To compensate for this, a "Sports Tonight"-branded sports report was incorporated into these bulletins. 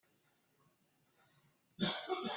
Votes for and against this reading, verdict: 0, 2, rejected